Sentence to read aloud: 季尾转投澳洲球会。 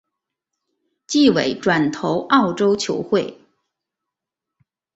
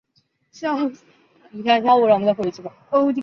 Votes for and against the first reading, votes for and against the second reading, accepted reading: 3, 0, 0, 2, first